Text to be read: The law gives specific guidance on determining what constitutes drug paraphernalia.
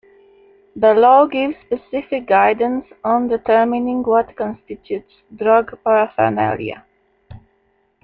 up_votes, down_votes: 2, 0